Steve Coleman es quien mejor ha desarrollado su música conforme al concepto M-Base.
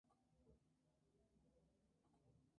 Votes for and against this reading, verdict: 0, 2, rejected